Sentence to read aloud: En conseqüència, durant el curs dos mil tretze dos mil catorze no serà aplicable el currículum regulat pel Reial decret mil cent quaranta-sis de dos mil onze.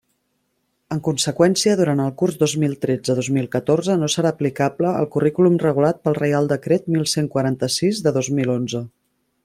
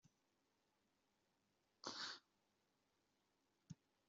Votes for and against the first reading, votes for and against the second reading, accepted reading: 3, 0, 0, 2, first